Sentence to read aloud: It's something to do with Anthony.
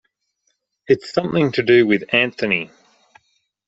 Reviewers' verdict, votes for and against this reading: accepted, 2, 0